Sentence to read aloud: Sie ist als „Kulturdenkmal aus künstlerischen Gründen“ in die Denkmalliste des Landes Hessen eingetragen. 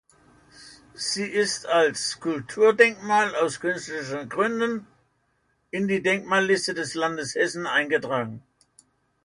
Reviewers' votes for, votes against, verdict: 2, 0, accepted